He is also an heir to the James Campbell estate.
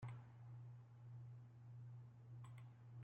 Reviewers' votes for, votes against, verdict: 1, 2, rejected